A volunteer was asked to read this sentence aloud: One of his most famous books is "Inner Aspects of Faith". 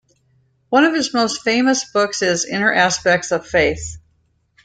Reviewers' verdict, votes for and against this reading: accepted, 2, 0